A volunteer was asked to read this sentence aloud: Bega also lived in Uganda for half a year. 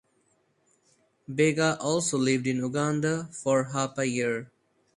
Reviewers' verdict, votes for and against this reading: accepted, 2, 0